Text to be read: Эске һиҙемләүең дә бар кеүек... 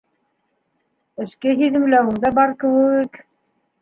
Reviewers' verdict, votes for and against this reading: accepted, 2, 0